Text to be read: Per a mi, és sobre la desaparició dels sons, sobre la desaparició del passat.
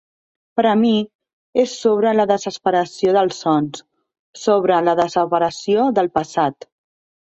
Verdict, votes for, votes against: rejected, 0, 2